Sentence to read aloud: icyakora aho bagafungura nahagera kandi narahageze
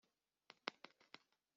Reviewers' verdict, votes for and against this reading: rejected, 0, 2